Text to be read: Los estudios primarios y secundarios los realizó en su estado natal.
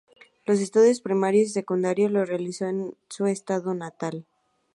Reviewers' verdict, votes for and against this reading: accepted, 2, 0